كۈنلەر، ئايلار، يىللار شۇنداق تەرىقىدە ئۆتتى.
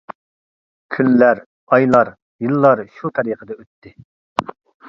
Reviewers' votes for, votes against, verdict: 0, 2, rejected